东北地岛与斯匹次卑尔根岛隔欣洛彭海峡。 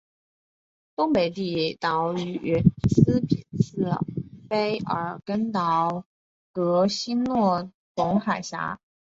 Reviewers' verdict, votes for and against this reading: accepted, 6, 1